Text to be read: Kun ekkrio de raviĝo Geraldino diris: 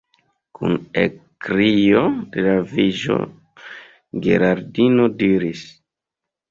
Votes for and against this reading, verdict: 1, 2, rejected